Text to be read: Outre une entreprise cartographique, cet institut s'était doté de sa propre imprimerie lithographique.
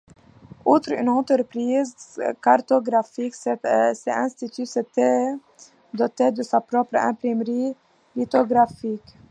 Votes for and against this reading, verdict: 2, 0, accepted